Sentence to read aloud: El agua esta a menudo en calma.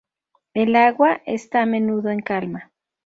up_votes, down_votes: 2, 0